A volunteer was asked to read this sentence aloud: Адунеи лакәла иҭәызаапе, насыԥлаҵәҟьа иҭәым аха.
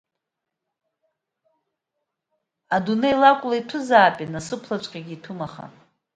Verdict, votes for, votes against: accepted, 2, 0